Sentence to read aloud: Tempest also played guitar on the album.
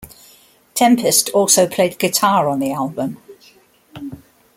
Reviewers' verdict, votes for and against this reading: accepted, 2, 0